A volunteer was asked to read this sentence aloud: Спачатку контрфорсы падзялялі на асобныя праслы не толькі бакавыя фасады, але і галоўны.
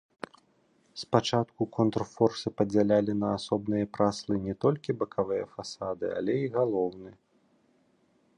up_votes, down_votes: 2, 0